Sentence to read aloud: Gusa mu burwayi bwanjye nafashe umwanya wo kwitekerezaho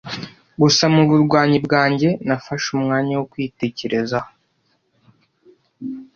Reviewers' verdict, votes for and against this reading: rejected, 0, 2